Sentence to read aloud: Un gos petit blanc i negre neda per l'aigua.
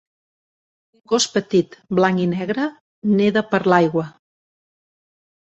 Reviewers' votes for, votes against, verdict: 1, 3, rejected